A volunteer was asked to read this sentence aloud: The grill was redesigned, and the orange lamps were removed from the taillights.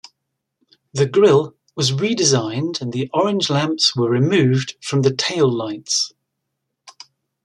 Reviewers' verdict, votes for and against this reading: accepted, 2, 0